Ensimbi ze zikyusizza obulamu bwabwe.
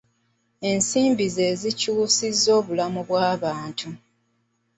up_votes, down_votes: 0, 2